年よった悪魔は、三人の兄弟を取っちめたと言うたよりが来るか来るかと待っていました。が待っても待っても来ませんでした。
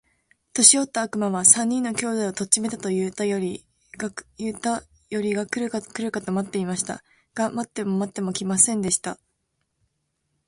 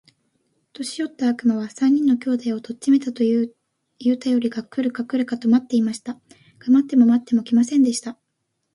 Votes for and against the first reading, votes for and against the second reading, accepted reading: 2, 2, 2, 0, second